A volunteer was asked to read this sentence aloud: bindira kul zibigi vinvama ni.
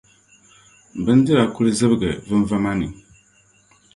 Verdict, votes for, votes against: accepted, 2, 0